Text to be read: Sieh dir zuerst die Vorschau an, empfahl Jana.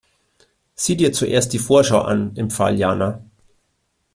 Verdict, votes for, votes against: accepted, 2, 0